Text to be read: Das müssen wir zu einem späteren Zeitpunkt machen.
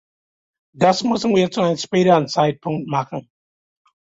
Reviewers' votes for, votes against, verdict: 2, 0, accepted